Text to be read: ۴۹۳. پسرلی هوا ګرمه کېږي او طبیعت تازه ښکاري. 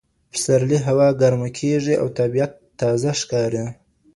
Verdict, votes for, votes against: rejected, 0, 2